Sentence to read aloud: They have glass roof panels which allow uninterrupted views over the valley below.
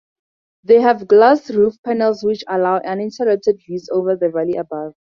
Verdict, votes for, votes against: rejected, 2, 2